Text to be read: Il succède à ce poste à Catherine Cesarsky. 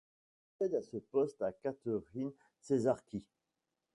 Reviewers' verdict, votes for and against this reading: rejected, 1, 2